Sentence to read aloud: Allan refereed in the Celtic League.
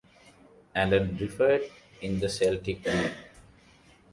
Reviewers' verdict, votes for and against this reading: rejected, 1, 2